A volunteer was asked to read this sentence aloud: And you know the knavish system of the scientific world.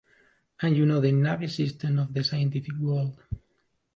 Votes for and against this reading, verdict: 1, 2, rejected